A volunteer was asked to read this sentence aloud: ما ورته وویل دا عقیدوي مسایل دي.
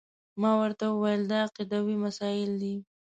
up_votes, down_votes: 2, 0